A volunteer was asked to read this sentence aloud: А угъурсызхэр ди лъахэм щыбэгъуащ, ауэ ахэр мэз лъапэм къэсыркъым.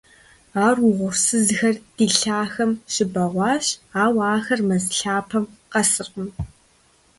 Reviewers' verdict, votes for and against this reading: rejected, 1, 2